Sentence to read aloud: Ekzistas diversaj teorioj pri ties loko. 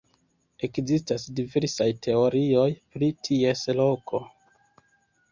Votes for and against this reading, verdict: 2, 0, accepted